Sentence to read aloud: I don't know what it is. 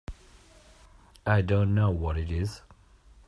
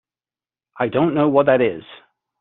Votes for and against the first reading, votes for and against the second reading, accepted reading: 2, 0, 1, 2, first